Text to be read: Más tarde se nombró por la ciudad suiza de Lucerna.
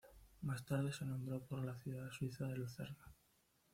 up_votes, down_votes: 1, 2